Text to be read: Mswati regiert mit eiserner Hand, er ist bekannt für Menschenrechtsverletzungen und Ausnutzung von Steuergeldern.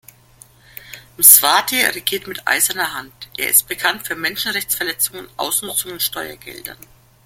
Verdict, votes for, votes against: rejected, 0, 2